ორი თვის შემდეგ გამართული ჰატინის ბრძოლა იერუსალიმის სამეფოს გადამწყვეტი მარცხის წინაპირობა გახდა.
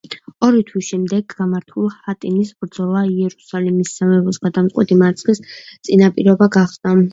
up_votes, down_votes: 1, 2